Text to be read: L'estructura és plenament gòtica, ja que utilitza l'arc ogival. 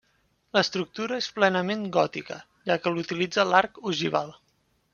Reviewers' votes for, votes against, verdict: 1, 2, rejected